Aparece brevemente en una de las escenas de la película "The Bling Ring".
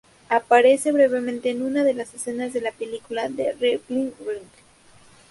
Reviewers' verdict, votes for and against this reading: rejected, 0, 2